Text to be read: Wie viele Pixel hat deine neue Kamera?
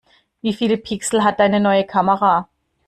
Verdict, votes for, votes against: accepted, 2, 0